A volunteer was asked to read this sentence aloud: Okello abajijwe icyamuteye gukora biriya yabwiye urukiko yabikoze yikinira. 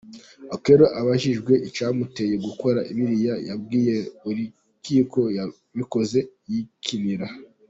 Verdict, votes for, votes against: accepted, 3, 0